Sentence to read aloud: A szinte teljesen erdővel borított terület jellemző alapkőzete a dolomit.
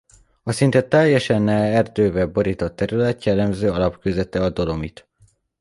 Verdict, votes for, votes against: rejected, 1, 2